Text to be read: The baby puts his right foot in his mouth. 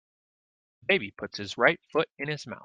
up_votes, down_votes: 0, 2